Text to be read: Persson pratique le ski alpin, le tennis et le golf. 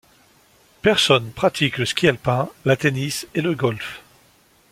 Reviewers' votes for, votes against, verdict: 0, 2, rejected